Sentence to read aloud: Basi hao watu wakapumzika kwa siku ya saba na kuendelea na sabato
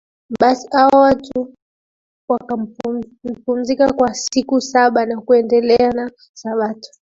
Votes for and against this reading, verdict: 2, 1, accepted